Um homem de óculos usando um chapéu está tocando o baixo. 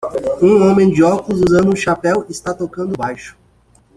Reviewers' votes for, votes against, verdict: 1, 2, rejected